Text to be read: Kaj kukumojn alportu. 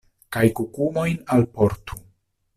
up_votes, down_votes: 2, 0